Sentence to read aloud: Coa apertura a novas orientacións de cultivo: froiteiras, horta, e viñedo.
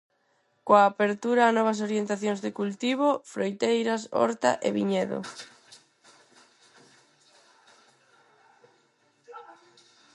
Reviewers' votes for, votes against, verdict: 2, 2, rejected